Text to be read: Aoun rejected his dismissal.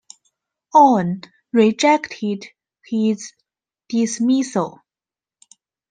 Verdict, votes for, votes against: accepted, 2, 0